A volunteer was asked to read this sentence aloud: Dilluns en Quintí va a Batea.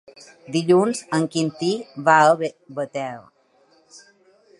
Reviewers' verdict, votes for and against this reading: rejected, 0, 2